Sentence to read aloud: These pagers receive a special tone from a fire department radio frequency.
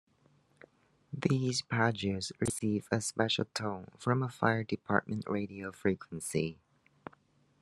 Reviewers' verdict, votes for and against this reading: rejected, 1, 2